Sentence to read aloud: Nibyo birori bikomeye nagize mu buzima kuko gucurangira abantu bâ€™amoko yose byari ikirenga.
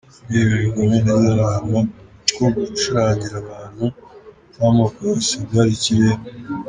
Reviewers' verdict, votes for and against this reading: accepted, 2, 1